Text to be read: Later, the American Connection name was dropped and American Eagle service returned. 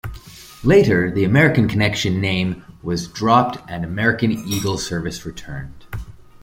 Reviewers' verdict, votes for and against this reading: accepted, 2, 0